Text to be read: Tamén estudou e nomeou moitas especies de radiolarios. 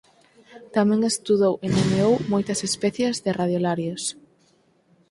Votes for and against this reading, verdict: 2, 4, rejected